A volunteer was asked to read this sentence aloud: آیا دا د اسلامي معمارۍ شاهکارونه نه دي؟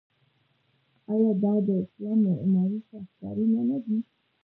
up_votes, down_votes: 1, 2